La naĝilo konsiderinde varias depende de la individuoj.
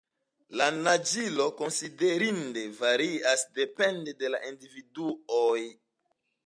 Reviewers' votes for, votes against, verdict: 2, 0, accepted